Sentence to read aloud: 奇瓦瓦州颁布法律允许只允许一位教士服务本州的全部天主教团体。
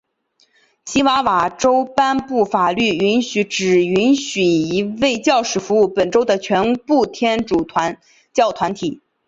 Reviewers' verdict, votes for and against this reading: rejected, 1, 2